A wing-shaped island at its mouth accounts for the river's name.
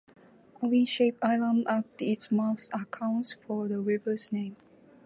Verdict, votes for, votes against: accepted, 2, 0